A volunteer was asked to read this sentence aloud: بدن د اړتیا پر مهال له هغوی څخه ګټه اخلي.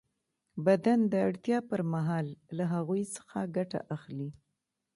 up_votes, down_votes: 2, 0